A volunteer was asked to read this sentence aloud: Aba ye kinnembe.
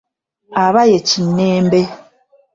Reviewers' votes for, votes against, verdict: 2, 0, accepted